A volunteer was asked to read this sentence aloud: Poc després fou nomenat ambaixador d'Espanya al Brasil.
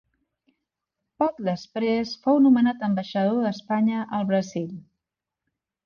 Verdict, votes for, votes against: accepted, 2, 0